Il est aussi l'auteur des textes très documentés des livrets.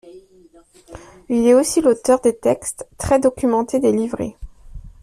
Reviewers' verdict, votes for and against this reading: accepted, 2, 0